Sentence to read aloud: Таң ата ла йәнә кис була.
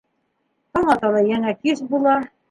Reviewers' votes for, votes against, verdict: 1, 3, rejected